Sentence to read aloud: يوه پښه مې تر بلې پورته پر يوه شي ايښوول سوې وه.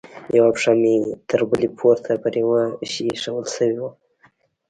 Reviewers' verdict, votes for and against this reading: rejected, 0, 2